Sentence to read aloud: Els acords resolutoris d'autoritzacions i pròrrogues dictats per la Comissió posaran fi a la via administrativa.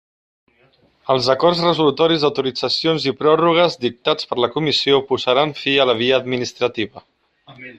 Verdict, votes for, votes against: accepted, 2, 0